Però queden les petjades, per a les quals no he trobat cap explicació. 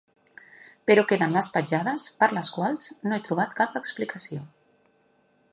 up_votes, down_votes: 2, 0